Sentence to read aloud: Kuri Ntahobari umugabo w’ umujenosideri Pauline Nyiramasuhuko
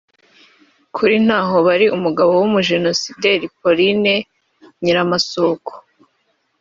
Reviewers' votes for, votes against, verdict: 3, 0, accepted